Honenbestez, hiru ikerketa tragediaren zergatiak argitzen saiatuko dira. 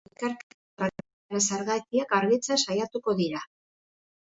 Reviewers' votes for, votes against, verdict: 0, 3, rejected